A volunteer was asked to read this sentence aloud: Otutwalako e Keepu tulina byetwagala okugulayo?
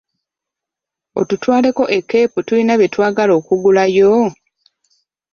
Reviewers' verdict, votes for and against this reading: rejected, 0, 2